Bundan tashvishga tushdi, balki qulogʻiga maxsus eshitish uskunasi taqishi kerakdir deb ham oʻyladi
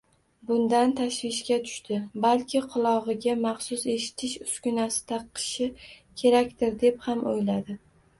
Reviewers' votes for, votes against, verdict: 0, 2, rejected